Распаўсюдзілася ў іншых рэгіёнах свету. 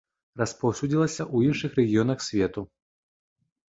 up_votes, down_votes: 2, 0